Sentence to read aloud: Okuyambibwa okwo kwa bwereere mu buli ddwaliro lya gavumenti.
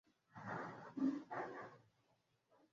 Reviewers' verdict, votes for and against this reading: rejected, 0, 2